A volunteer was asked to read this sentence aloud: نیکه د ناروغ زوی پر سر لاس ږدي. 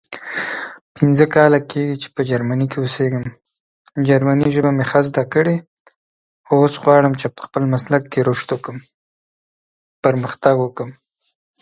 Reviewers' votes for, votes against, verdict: 0, 3, rejected